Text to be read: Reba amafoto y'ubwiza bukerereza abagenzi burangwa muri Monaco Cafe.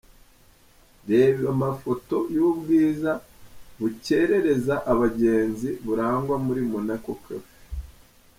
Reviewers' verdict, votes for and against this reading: accepted, 3, 0